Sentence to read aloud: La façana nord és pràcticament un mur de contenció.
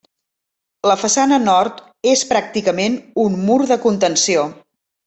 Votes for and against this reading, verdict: 3, 0, accepted